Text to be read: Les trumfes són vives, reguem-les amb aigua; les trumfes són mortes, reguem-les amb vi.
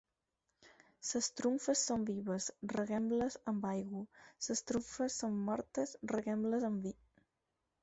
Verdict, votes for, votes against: rejected, 0, 4